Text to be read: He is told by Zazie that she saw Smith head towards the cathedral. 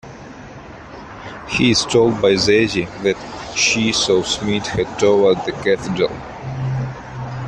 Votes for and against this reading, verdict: 1, 2, rejected